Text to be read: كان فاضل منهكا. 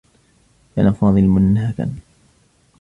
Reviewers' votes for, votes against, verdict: 2, 0, accepted